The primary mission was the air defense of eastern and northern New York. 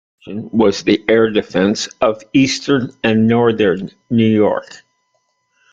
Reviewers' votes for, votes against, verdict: 0, 2, rejected